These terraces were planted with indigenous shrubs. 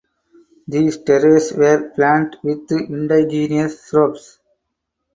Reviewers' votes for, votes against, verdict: 4, 2, accepted